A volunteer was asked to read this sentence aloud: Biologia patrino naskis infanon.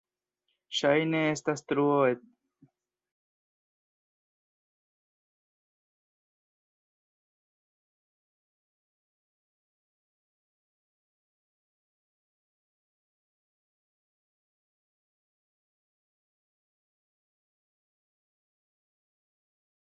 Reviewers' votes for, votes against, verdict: 0, 2, rejected